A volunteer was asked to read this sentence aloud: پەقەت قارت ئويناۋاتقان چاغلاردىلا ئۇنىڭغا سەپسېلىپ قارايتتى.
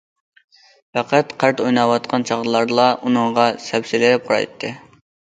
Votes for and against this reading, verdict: 1, 2, rejected